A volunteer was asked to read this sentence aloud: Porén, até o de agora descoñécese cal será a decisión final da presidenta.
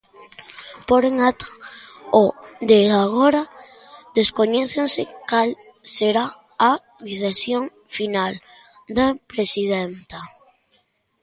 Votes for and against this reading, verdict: 0, 2, rejected